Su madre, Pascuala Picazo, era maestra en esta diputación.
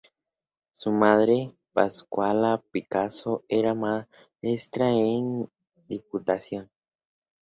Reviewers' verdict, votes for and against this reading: rejected, 0, 2